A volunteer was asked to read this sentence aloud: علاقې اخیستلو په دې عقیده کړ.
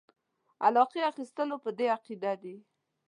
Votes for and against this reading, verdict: 1, 2, rejected